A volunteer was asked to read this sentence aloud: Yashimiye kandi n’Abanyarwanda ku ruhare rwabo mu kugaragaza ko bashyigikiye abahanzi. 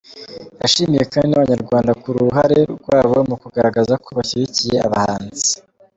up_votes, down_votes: 2, 0